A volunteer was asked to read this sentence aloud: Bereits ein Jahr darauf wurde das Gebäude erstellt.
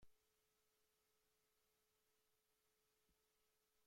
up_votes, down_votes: 0, 2